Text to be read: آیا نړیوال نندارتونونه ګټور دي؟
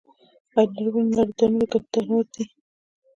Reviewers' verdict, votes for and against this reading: accepted, 2, 1